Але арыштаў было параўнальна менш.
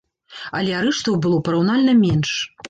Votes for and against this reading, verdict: 1, 2, rejected